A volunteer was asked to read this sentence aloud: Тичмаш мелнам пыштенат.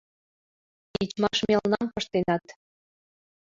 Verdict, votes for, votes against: accepted, 2, 1